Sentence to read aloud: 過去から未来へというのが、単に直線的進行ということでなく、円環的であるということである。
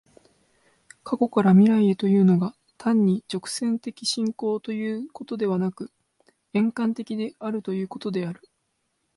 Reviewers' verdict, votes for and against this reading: accepted, 2, 0